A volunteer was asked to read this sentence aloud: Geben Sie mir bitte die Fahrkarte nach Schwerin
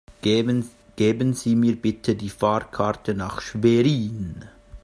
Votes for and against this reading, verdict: 0, 2, rejected